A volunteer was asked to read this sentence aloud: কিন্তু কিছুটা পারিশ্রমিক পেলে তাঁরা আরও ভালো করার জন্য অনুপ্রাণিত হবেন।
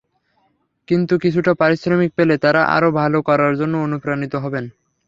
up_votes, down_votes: 3, 0